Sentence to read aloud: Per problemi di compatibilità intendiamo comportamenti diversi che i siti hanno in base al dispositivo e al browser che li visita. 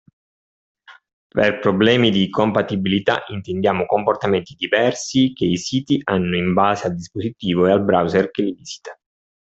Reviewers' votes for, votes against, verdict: 2, 0, accepted